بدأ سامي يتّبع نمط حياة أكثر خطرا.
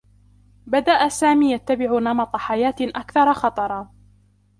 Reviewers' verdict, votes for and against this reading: rejected, 1, 2